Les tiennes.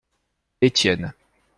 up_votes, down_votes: 1, 2